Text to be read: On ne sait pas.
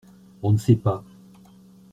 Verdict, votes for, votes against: accepted, 2, 0